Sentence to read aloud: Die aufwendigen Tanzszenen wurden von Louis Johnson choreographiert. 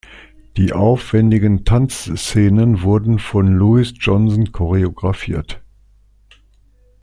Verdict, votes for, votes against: accepted, 2, 0